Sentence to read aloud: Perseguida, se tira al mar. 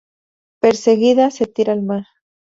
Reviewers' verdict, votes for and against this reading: accepted, 2, 0